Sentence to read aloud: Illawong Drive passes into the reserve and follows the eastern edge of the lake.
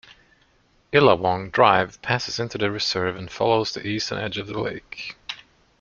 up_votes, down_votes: 2, 0